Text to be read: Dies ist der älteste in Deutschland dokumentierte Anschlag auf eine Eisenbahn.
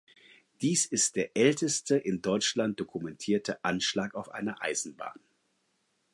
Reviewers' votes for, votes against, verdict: 4, 0, accepted